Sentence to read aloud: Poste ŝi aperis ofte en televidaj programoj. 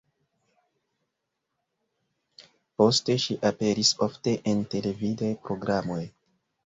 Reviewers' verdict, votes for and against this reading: accepted, 2, 0